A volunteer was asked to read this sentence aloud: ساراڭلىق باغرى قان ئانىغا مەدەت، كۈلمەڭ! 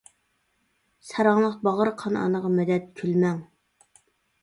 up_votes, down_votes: 1, 2